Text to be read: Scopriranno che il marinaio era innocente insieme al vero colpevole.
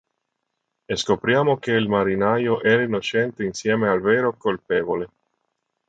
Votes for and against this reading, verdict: 0, 3, rejected